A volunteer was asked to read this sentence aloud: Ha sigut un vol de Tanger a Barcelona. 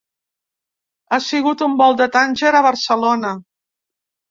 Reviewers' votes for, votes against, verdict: 2, 0, accepted